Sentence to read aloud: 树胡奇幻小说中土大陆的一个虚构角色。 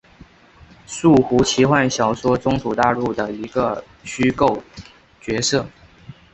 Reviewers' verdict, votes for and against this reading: accepted, 3, 0